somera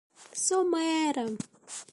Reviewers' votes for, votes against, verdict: 0, 2, rejected